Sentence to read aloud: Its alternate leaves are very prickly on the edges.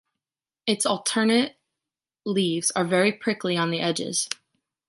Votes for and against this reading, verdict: 1, 2, rejected